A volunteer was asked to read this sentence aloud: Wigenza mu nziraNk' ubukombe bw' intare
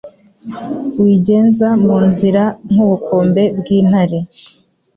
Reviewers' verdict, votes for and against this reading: accepted, 3, 0